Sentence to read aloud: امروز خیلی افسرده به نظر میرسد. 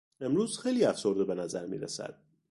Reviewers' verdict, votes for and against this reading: accepted, 2, 0